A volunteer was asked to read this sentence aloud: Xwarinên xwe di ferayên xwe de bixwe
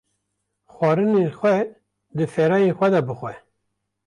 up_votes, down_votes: 2, 0